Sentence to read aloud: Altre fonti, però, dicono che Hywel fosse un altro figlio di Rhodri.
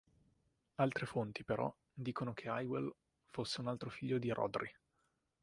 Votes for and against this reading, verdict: 5, 1, accepted